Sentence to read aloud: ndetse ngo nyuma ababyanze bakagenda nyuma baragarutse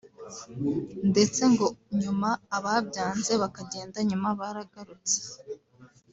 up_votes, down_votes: 0, 2